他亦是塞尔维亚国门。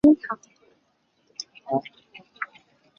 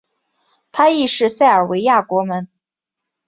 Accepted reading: second